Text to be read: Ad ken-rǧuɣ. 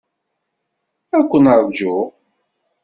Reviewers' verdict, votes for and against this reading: accepted, 2, 0